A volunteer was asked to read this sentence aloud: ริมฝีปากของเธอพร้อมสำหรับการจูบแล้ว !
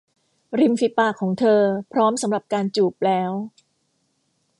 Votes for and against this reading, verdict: 2, 0, accepted